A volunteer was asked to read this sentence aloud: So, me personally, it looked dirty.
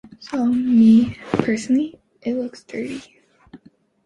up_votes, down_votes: 1, 2